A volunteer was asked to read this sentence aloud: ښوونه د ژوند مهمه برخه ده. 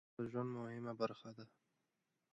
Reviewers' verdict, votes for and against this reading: accepted, 2, 1